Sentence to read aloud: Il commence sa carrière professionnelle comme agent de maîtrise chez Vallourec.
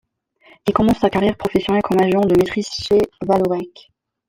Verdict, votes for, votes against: accepted, 2, 0